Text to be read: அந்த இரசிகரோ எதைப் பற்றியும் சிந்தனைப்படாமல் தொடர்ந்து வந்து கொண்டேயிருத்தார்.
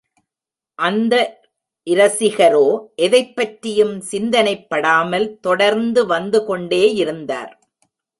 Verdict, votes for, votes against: rejected, 1, 2